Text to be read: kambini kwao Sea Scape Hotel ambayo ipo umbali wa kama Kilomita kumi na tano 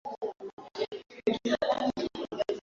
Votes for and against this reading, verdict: 0, 2, rejected